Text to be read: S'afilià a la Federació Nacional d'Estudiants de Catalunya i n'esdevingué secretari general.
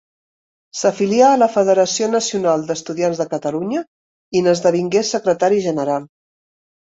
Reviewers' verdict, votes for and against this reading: accepted, 2, 0